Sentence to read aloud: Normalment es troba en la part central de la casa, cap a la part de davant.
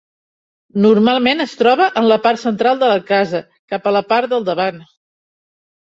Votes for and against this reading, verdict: 0, 3, rejected